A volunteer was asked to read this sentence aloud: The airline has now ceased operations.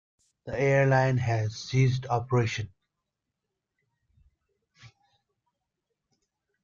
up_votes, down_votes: 0, 2